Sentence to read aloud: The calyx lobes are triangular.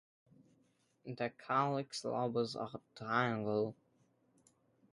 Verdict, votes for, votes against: rejected, 1, 2